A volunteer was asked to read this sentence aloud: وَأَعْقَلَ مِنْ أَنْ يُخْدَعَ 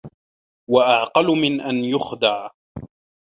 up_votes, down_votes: 2, 1